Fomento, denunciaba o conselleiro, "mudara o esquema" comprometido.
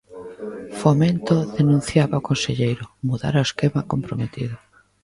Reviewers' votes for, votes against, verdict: 1, 2, rejected